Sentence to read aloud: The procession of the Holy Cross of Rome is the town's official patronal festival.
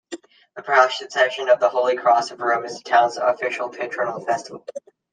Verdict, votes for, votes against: rejected, 0, 2